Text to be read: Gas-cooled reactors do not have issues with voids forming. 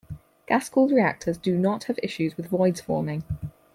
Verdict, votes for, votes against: accepted, 4, 0